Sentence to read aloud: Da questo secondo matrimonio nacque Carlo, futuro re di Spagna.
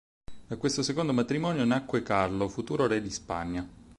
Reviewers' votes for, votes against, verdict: 4, 0, accepted